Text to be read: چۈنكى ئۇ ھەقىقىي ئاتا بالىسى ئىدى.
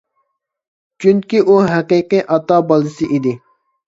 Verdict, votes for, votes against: accepted, 2, 0